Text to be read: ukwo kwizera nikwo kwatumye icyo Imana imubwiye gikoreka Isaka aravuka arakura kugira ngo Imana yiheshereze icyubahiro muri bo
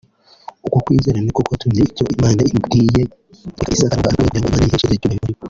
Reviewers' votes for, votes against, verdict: 0, 2, rejected